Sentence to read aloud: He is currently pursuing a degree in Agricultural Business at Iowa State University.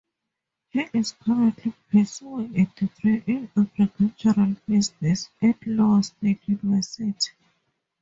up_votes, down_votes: 0, 2